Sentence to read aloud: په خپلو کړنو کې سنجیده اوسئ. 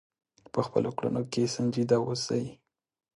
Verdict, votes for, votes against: accepted, 2, 0